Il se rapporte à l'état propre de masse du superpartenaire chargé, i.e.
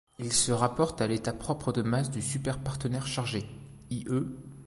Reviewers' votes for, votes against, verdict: 0, 2, rejected